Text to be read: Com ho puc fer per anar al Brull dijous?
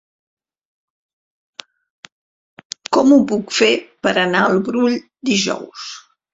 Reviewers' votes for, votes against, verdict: 0, 2, rejected